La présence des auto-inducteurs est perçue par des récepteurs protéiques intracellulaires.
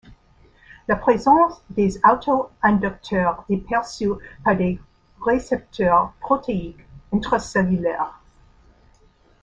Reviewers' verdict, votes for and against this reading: rejected, 1, 2